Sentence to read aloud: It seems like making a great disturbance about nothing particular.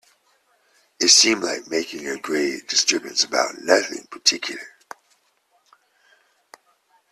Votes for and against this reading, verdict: 2, 0, accepted